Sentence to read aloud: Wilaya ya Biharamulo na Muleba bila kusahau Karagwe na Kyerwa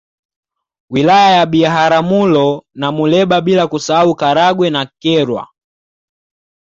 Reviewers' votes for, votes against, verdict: 2, 0, accepted